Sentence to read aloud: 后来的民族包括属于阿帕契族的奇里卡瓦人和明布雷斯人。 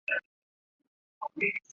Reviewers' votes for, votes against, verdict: 1, 4, rejected